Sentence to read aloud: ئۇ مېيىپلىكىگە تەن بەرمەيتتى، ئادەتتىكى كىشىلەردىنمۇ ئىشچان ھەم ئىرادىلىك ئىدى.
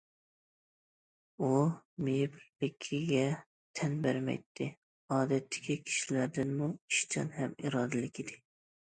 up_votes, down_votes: 2, 0